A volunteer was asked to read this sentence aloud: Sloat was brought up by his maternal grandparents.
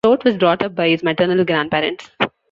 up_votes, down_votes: 1, 3